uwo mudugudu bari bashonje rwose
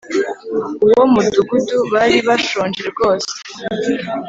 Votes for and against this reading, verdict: 2, 0, accepted